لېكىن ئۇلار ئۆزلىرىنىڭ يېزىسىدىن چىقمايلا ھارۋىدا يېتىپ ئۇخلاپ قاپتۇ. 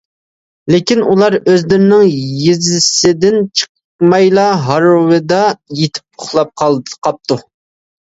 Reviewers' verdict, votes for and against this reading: rejected, 0, 2